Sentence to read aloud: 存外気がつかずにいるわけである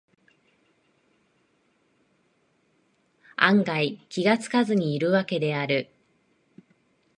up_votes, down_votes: 2, 1